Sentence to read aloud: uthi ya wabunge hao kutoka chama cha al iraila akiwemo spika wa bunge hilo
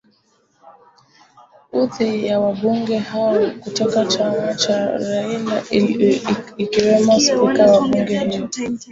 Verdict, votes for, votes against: rejected, 0, 2